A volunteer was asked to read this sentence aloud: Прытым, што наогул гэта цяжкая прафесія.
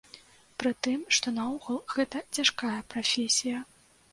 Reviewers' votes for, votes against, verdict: 2, 0, accepted